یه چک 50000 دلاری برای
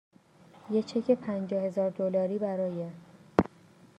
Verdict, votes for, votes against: rejected, 0, 2